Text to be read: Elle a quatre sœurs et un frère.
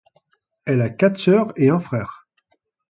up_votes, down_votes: 2, 0